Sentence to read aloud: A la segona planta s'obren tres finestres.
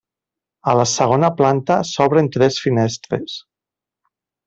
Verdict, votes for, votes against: accepted, 3, 0